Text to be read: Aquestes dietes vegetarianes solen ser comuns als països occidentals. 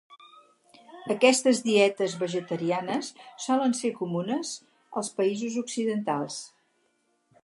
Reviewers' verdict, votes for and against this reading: rejected, 0, 4